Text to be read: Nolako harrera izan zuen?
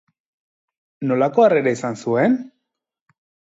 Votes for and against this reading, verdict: 2, 0, accepted